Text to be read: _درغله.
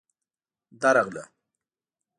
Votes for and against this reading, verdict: 2, 0, accepted